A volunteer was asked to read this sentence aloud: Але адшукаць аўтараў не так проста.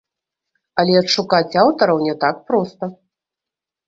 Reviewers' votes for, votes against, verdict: 2, 3, rejected